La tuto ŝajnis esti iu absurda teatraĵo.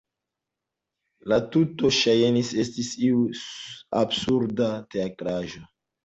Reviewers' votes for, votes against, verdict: 1, 2, rejected